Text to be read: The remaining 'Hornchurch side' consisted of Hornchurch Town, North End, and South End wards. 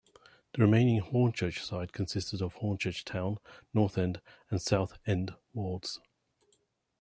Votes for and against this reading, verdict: 2, 0, accepted